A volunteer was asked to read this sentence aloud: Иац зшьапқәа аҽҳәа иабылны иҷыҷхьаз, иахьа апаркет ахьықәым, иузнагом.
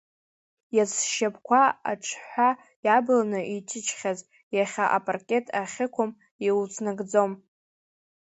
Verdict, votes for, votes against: rejected, 0, 2